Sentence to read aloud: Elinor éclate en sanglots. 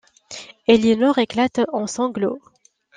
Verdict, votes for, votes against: accepted, 2, 0